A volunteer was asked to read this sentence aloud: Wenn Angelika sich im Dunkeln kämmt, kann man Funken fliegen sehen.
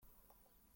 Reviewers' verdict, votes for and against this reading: rejected, 0, 2